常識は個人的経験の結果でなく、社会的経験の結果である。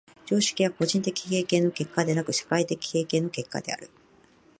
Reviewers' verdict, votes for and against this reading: accepted, 2, 0